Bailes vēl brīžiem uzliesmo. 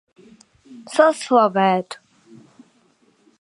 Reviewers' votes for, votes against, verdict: 0, 2, rejected